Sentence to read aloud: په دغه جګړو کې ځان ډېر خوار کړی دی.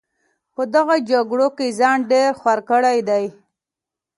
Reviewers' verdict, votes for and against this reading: accepted, 2, 0